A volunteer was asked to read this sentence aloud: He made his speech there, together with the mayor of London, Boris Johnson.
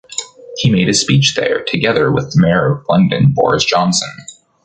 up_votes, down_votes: 1, 2